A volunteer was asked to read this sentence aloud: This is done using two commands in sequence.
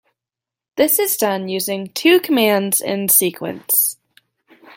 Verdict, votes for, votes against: accepted, 2, 0